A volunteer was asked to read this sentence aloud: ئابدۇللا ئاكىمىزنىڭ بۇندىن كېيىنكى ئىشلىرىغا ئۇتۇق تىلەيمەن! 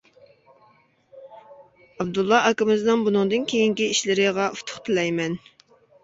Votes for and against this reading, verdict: 1, 2, rejected